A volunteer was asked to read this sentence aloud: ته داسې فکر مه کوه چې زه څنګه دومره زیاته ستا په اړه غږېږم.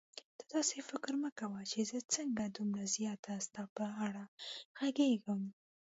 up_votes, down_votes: 1, 2